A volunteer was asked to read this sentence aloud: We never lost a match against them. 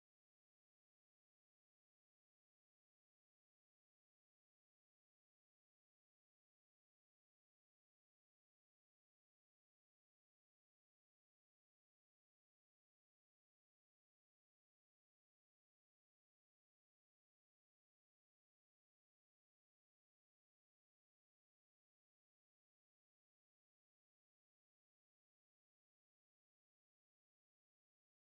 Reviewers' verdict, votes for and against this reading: rejected, 0, 4